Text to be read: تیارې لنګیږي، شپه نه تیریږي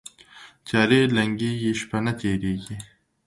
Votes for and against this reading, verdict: 5, 0, accepted